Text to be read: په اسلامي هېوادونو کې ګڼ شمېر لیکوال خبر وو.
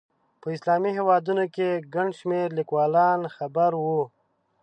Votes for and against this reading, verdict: 1, 2, rejected